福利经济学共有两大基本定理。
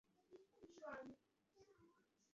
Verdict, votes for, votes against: rejected, 1, 2